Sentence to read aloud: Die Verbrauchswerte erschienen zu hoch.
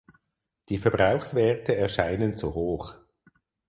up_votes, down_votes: 0, 4